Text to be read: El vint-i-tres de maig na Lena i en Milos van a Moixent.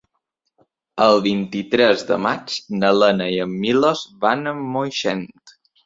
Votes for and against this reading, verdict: 2, 0, accepted